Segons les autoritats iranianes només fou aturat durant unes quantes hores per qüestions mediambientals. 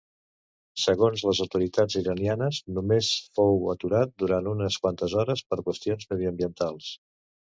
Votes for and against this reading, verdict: 2, 0, accepted